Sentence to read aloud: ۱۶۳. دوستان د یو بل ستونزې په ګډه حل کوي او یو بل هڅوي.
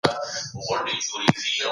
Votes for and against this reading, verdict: 0, 2, rejected